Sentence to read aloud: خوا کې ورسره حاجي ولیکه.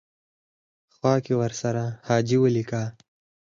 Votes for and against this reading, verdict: 4, 0, accepted